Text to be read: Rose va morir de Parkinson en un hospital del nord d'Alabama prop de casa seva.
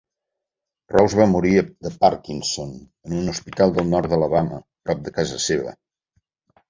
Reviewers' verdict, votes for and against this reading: accepted, 2, 0